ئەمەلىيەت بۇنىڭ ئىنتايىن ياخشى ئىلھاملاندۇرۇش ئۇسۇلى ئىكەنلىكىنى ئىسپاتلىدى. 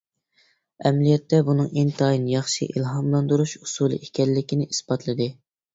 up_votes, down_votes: 1, 2